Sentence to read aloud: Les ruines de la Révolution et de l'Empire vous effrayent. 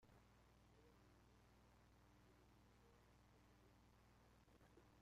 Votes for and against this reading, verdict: 0, 2, rejected